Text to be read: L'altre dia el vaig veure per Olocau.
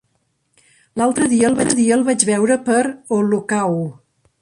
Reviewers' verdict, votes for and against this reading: rejected, 0, 2